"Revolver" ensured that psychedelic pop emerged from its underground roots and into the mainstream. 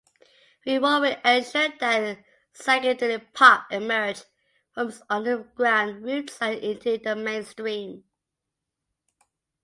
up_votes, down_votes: 2, 1